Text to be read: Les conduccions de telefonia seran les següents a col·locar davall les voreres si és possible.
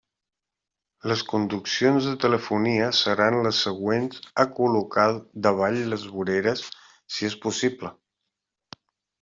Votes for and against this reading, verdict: 3, 0, accepted